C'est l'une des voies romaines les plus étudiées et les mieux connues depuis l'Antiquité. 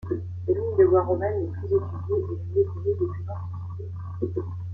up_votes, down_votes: 0, 2